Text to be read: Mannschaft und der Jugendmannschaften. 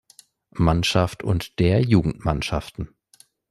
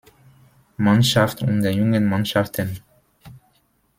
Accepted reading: first